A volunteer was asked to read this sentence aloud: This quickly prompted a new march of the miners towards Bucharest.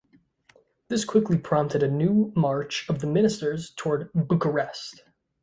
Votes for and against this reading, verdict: 1, 2, rejected